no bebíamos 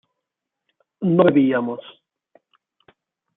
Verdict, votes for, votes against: rejected, 1, 2